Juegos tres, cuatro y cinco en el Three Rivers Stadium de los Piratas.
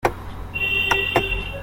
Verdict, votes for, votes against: rejected, 0, 2